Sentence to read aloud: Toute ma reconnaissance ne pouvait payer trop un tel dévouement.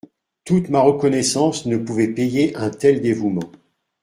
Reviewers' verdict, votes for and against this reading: rejected, 0, 2